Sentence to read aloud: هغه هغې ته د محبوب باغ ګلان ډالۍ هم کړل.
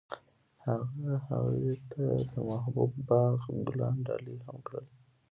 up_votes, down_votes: 2, 1